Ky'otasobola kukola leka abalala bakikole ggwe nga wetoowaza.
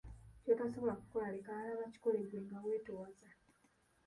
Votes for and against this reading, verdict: 2, 1, accepted